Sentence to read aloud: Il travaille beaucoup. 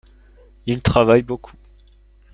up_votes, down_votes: 2, 0